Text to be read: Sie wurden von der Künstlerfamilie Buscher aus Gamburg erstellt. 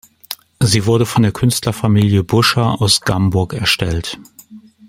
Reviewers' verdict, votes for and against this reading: rejected, 1, 2